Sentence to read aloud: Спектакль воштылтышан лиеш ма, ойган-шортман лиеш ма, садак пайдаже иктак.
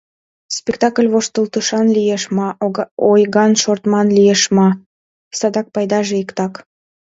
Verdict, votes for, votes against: accepted, 2, 0